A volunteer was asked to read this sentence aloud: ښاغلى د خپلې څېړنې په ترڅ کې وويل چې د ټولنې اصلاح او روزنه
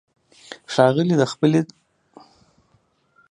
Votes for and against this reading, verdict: 0, 2, rejected